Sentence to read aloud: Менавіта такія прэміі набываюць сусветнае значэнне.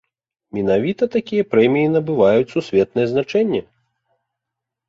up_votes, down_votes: 2, 0